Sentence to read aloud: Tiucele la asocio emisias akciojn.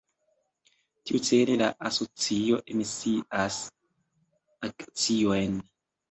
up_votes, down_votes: 2, 0